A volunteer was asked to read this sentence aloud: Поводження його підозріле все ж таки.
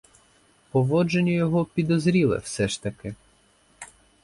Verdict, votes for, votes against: accepted, 4, 0